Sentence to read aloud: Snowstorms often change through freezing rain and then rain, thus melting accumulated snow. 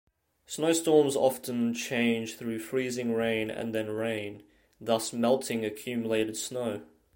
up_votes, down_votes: 2, 0